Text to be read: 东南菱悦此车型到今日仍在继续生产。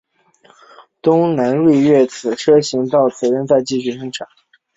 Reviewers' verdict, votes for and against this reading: accepted, 2, 1